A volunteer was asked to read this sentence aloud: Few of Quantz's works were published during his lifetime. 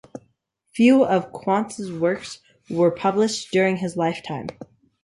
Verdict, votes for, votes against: accepted, 3, 0